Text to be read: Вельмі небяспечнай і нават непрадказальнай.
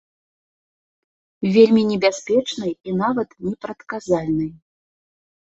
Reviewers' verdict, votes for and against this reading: accepted, 2, 0